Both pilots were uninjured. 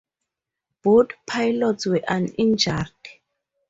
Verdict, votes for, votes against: accepted, 2, 0